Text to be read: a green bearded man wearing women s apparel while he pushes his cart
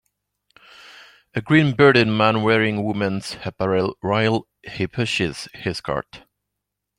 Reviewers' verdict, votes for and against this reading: accepted, 2, 0